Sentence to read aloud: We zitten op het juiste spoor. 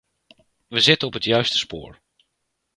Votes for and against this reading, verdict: 2, 0, accepted